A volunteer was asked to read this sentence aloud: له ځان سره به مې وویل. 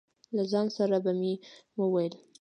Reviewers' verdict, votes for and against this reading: rejected, 0, 2